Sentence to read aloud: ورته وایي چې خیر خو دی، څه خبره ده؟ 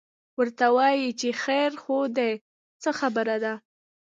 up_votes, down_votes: 1, 2